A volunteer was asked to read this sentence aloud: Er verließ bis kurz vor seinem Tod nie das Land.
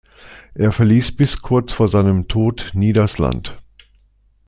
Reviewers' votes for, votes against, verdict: 2, 0, accepted